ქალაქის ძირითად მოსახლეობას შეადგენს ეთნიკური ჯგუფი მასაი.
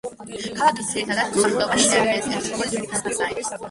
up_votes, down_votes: 0, 2